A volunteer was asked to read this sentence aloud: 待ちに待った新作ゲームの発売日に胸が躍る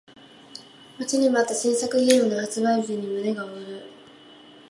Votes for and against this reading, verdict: 2, 1, accepted